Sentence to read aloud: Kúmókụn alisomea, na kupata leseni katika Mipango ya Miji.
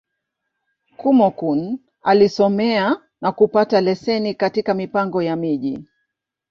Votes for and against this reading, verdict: 2, 0, accepted